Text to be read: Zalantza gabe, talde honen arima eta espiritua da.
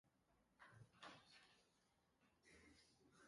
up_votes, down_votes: 0, 2